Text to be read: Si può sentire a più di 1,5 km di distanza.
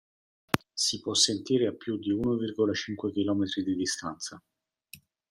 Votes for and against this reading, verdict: 0, 2, rejected